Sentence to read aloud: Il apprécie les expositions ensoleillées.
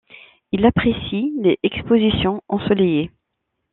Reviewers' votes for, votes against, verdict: 1, 2, rejected